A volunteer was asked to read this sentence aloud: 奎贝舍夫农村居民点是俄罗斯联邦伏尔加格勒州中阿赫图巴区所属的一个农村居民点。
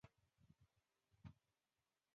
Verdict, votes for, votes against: rejected, 1, 2